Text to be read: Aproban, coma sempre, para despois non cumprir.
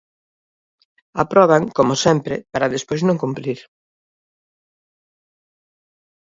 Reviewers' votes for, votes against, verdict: 1, 2, rejected